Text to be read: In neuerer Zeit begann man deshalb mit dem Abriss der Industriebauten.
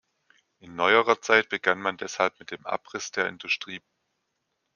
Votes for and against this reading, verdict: 0, 2, rejected